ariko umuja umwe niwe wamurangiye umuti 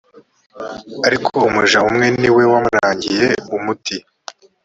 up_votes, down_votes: 2, 1